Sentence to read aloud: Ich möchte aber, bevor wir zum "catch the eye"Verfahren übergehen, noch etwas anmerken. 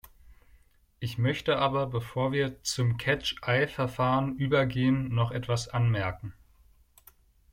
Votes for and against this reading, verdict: 0, 2, rejected